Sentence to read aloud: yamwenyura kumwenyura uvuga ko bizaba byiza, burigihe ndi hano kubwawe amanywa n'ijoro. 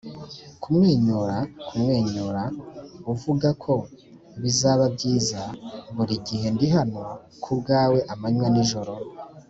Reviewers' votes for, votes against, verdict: 0, 2, rejected